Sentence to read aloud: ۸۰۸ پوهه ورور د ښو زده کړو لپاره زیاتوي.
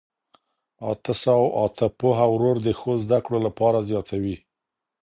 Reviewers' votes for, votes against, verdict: 0, 2, rejected